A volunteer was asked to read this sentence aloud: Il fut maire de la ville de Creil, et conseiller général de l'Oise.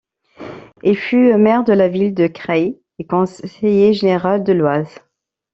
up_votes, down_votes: 0, 2